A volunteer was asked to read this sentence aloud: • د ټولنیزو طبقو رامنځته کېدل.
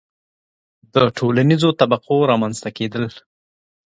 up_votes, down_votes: 2, 0